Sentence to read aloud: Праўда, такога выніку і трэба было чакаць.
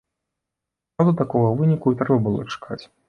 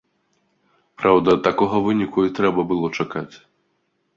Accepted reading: second